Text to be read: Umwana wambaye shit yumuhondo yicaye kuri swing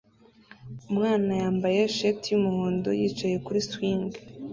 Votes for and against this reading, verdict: 0, 2, rejected